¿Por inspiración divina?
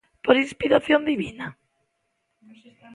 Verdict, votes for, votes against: accepted, 2, 0